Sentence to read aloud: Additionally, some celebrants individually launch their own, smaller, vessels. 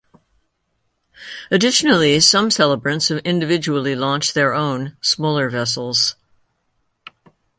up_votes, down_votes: 2, 0